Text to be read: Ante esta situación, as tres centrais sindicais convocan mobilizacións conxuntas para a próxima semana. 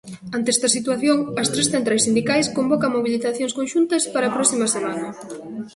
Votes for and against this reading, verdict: 2, 1, accepted